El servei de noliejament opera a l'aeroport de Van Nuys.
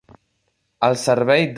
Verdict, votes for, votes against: rejected, 0, 2